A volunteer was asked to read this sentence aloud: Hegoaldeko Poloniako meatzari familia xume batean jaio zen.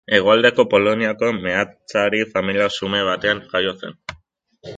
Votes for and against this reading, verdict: 4, 1, accepted